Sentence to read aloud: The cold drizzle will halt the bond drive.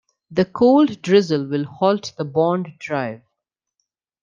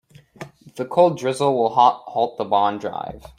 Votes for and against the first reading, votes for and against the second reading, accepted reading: 2, 0, 1, 2, first